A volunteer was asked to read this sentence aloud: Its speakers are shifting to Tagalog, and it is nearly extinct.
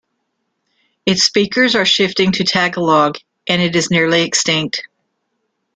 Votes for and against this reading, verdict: 2, 0, accepted